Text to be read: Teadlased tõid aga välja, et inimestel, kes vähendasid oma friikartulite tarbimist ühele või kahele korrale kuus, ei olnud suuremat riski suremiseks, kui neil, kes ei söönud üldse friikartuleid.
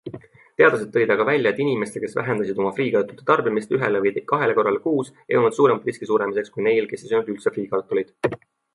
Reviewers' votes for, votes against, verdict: 2, 1, accepted